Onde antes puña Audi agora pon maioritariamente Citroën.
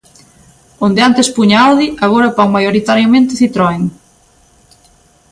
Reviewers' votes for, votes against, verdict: 2, 0, accepted